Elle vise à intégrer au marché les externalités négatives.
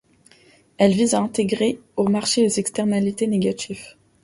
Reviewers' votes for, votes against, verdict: 2, 0, accepted